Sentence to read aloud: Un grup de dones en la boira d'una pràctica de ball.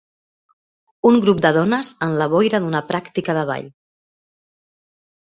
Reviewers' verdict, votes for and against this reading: rejected, 1, 2